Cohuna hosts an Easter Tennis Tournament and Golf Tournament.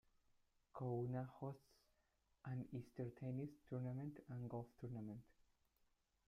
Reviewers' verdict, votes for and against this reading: rejected, 0, 2